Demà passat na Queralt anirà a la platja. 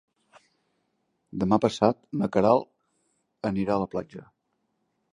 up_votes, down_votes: 3, 0